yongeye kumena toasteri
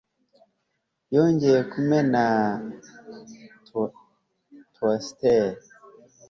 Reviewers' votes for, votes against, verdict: 2, 4, rejected